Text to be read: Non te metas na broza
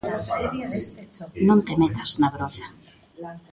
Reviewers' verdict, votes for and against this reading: rejected, 0, 2